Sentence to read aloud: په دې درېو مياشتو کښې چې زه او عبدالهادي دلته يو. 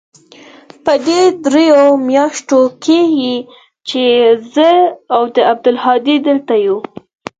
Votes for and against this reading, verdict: 2, 4, rejected